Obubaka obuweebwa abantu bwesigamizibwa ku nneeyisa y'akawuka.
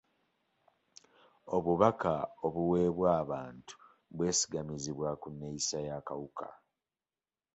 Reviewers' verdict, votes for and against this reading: accepted, 2, 0